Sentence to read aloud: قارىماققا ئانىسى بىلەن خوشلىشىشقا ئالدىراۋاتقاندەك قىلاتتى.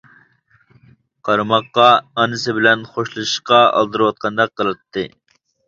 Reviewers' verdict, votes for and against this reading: rejected, 1, 2